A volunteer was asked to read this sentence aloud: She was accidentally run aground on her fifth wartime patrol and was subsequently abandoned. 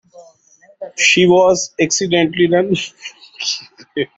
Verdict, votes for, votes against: rejected, 1, 2